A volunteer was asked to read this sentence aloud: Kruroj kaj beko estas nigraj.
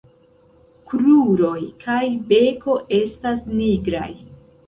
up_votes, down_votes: 1, 2